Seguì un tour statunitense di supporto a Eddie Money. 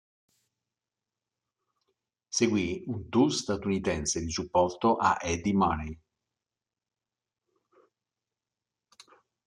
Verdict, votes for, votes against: accepted, 2, 0